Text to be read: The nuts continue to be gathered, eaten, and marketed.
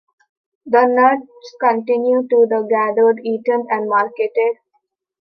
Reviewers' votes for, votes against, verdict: 0, 2, rejected